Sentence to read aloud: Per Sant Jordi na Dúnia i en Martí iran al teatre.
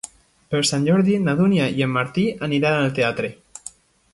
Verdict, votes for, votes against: rejected, 0, 2